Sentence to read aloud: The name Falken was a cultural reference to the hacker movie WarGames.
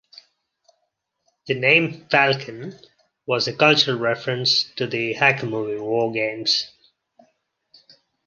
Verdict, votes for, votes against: accepted, 2, 0